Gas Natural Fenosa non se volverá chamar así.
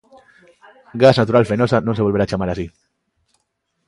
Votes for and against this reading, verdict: 1, 2, rejected